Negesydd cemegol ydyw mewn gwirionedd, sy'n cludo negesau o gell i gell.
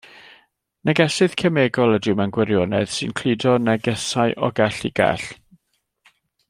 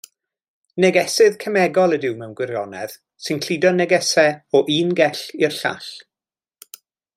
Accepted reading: first